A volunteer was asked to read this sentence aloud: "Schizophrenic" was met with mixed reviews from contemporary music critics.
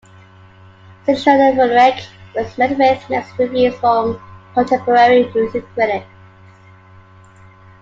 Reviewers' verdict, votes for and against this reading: rejected, 0, 2